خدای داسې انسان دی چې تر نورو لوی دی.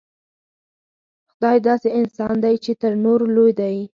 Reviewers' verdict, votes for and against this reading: accepted, 4, 0